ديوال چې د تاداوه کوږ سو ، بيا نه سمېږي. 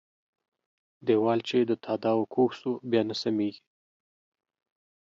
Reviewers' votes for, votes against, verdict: 2, 0, accepted